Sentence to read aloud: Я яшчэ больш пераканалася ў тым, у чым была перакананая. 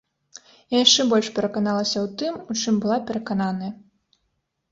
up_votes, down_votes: 2, 0